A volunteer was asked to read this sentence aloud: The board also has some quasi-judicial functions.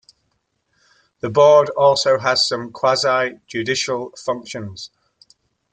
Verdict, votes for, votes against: accepted, 2, 0